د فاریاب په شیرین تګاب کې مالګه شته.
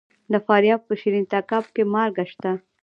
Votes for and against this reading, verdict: 0, 2, rejected